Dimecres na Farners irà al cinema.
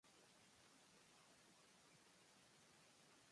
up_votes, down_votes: 1, 2